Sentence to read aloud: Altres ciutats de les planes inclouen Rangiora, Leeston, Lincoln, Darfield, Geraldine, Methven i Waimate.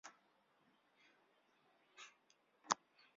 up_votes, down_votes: 0, 2